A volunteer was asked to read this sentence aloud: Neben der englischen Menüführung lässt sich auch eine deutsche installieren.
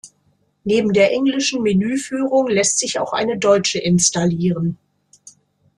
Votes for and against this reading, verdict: 2, 0, accepted